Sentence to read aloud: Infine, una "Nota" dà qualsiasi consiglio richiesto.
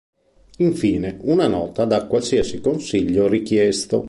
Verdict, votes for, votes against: accepted, 2, 0